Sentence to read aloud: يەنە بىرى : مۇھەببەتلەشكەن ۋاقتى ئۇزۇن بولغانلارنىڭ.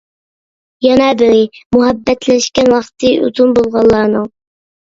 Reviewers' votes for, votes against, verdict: 0, 2, rejected